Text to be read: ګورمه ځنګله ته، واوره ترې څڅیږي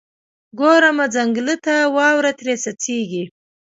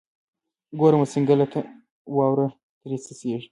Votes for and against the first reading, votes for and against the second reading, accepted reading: 2, 0, 0, 2, first